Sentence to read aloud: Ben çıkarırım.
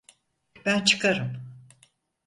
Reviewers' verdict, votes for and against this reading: rejected, 0, 4